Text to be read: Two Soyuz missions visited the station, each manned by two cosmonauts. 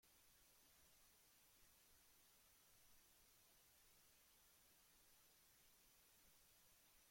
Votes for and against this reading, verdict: 0, 2, rejected